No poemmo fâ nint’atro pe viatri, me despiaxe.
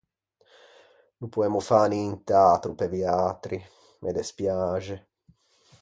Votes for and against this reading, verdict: 4, 0, accepted